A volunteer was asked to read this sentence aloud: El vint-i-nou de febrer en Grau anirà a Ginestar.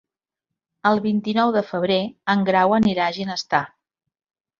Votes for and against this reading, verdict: 4, 0, accepted